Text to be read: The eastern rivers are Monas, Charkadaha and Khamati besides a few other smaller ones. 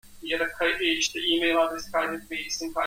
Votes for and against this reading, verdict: 0, 2, rejected